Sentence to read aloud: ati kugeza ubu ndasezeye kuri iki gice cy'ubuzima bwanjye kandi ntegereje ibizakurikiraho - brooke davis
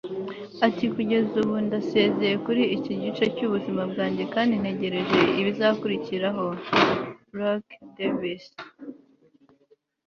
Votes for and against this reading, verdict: 2, 0, accepted